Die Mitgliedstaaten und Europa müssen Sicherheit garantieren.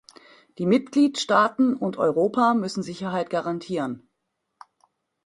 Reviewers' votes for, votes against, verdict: 2, 0, accepted